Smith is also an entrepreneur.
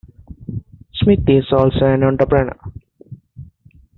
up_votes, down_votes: 2, 1